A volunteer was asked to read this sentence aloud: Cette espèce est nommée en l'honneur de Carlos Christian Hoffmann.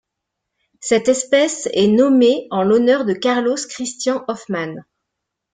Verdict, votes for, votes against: rejected, 0, 2